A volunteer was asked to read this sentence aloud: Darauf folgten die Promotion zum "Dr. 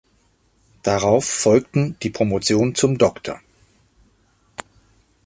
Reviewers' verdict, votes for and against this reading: accepted, 2, 0